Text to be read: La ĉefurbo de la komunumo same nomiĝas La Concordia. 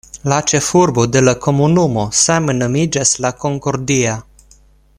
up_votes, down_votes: 1, 2